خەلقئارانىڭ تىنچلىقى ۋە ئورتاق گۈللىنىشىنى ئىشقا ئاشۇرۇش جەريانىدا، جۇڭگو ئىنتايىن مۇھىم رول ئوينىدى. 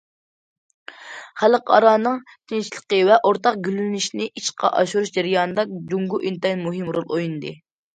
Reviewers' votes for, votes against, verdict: 2, 0, accepted